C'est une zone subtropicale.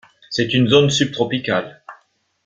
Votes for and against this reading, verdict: 1, 2, rejected